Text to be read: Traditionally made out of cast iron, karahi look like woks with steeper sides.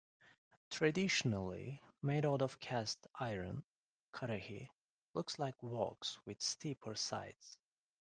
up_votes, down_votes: 1, 2